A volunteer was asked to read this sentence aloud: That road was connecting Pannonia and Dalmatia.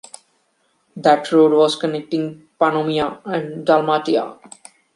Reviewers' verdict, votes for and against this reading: accepted, 2, 0